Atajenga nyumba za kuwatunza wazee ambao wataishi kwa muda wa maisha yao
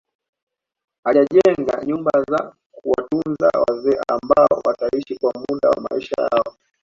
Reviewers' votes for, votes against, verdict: 2, 0, accepted